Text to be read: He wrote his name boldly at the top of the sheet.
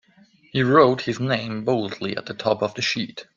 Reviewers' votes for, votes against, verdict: 2, 0, accepted